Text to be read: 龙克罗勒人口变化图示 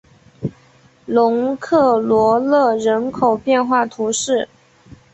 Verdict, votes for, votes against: accepted, 3, 0